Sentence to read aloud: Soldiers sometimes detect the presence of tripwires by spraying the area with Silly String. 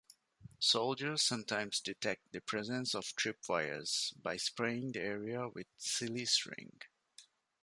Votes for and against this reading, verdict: 2, 0, accepted